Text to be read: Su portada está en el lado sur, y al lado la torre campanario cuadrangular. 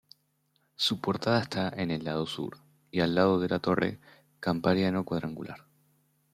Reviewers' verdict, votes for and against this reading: rejected, 1, 2